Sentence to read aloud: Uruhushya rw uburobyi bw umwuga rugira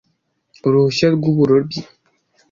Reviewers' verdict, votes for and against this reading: rejected, 0, 2